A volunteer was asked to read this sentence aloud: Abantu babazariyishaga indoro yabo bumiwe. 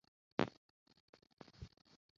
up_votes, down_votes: 0, 2